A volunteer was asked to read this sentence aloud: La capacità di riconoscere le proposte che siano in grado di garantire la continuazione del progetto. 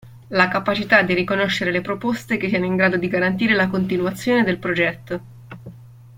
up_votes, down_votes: 2, 0